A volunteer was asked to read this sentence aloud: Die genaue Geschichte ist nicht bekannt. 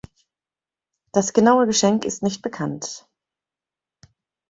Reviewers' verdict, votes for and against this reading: rejected, 0, 2